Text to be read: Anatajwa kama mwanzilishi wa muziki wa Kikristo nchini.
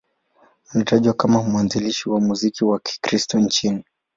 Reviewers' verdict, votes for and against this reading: accepted, 2, 0